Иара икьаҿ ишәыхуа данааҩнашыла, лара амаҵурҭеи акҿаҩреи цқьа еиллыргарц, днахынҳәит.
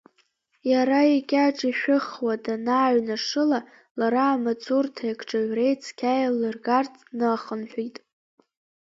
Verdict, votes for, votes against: accepted, 2, 1